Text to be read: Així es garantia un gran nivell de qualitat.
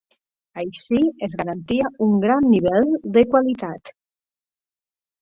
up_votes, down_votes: 2, 1